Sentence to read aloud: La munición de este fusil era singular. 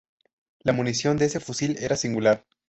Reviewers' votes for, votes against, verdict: 2, 2, rejected